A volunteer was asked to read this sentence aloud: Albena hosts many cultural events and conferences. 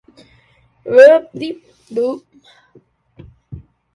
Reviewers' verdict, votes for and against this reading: rejected, 0, 2